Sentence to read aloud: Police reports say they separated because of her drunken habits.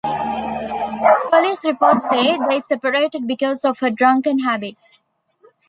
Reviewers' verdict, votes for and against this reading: accepted, 2, 1